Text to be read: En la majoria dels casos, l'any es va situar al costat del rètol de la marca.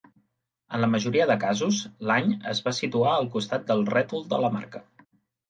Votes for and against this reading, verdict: 0, 2, rejected